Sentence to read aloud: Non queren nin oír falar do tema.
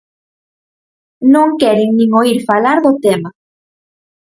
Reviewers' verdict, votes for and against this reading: accepted, 4, 0